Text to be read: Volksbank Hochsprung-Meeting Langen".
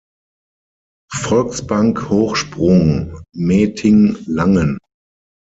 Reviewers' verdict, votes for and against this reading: accepted, 6, 0